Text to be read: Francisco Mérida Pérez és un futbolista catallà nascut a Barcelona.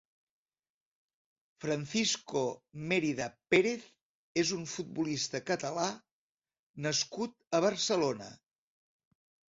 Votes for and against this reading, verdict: 1, 4, rejected